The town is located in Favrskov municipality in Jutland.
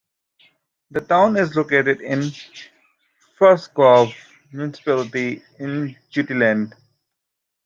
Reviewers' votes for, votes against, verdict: 2, 0, accepted